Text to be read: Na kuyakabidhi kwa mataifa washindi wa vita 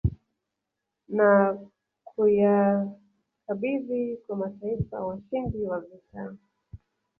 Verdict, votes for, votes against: rejected, 1, 2